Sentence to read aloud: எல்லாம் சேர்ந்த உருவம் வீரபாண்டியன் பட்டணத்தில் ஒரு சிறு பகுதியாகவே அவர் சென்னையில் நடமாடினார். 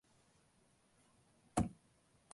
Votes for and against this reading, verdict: 0, 2, rejected